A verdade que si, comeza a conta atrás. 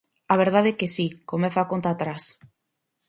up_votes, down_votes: 4, 0